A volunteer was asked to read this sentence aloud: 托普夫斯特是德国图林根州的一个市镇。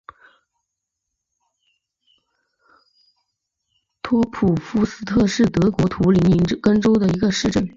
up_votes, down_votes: 3, 0